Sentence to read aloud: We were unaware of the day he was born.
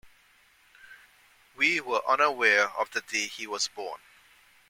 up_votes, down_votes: 2, 0